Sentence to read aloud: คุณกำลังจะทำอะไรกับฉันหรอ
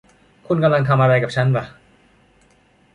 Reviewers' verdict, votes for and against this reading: rejected, 0, 2